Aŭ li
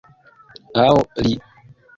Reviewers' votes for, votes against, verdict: 2, 0, accepted